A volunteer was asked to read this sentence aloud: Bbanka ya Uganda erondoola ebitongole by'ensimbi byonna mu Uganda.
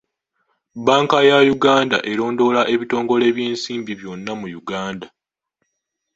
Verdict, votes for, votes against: rejected, 0, 2